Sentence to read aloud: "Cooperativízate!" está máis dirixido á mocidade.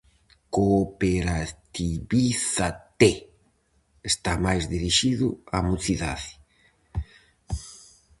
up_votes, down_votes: 0, 4